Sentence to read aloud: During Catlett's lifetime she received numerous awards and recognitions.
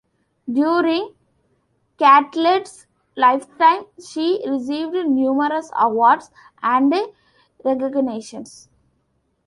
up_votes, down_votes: 2, 0